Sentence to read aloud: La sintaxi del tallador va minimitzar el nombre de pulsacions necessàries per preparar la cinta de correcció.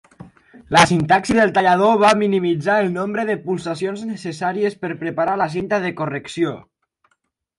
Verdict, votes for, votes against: accepted, 4, 0